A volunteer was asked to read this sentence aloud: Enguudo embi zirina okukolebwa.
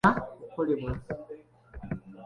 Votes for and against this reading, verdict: 1, 2, rejected